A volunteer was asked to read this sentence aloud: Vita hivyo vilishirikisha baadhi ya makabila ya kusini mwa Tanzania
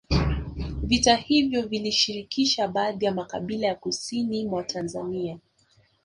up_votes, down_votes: 2, 1